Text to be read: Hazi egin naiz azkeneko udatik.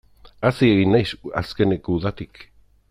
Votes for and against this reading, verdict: 2, 0, accepted